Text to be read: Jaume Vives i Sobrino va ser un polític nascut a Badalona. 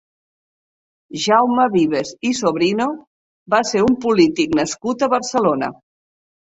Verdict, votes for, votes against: rejected, 0, 2